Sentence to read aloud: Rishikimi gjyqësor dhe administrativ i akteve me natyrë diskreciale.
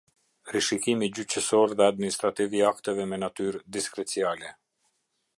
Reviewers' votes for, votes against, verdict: 2, 0, accepted